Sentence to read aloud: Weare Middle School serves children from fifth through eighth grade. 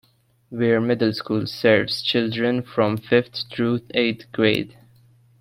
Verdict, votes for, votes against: accepted, 2, 0